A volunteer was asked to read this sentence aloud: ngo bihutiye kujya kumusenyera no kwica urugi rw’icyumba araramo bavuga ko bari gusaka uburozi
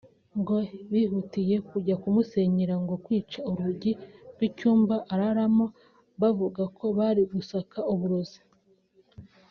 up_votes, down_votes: 1, 2